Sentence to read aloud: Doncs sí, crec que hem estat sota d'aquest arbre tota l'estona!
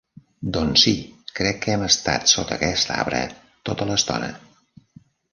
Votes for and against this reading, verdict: 0, 2, rejected